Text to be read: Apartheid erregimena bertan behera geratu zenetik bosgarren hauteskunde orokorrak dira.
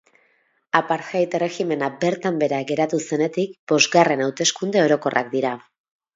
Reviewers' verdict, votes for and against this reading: accepted, 2, 0